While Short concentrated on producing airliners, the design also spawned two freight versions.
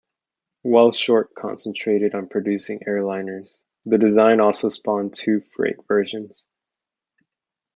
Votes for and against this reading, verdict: 2, 0, accepted